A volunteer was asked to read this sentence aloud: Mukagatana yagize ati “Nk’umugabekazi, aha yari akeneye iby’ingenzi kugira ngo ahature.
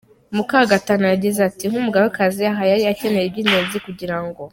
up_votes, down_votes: 0, 2